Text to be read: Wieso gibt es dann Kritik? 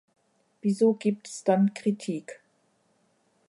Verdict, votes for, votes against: rejected, 0, 2